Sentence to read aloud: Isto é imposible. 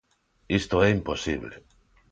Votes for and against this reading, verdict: 2, 0, accepted